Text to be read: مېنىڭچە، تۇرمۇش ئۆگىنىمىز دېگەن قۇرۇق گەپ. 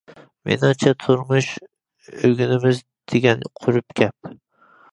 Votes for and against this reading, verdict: 2, 1, accepted